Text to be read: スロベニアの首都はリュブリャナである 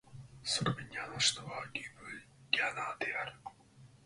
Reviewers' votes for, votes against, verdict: 0, 2, rejected